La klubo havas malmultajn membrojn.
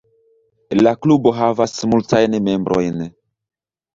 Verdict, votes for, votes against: rejected, 1, 2